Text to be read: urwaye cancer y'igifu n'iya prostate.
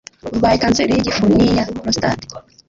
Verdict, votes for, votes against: rejected, 1, 2